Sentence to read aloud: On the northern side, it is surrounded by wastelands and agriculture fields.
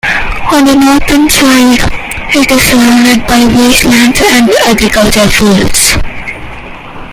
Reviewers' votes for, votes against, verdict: 0, 2, rejected